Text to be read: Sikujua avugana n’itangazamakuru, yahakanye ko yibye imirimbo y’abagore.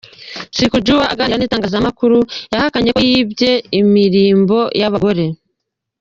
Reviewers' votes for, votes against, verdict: 0, 2, rejected